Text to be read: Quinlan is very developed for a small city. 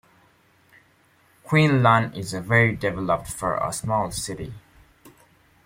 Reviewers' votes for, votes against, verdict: 0, 2, rejected